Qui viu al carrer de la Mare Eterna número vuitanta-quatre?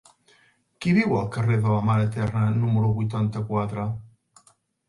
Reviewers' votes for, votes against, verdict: 6, 0, accepted